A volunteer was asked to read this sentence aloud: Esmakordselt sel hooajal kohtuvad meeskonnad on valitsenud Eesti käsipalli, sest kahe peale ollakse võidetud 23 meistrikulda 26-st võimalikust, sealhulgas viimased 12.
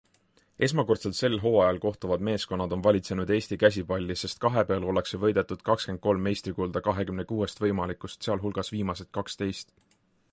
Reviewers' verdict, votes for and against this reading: rejected, 0, 2